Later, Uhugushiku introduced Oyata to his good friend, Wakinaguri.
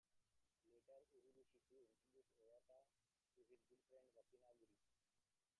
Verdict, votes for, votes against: rejected, 0, 2